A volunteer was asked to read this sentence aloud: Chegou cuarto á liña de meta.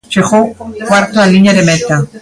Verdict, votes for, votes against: rejected, 1, 2